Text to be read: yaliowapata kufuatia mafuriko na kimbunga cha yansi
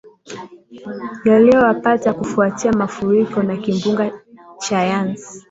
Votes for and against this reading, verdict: 2, 0, accepted